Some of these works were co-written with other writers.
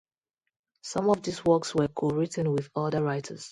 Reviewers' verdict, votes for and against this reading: rejected, 0, 2